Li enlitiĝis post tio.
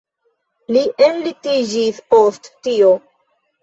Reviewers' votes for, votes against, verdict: 1, 2, rejected